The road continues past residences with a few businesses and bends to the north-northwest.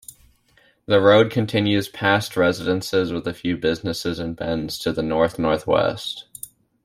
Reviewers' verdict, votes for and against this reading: accepted, 2, 0